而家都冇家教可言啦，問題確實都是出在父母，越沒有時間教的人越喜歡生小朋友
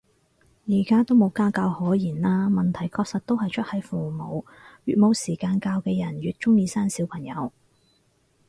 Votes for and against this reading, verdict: 0, 4, rejected